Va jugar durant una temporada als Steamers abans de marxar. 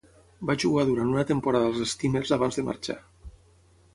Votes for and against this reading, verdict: 6, 0, accepted